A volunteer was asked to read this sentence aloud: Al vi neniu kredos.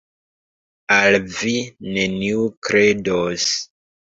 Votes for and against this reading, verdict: 3, 2, accepted